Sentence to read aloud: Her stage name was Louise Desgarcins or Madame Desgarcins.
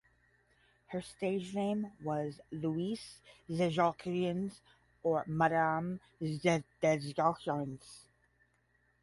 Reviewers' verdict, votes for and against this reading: rejected, 5, 10